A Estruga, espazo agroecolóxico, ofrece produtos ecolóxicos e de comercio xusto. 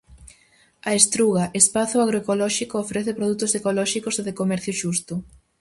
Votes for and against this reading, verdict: 4, 0, accepted